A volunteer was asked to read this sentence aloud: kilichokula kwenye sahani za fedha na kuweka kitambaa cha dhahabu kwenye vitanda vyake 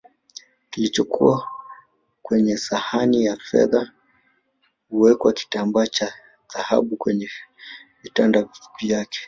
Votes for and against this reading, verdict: 4, 2, accepted